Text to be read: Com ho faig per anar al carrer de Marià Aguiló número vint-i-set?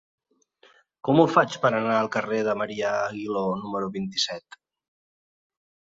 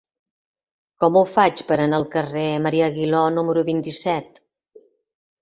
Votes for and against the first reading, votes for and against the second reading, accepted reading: 2, 0, 1, 2, first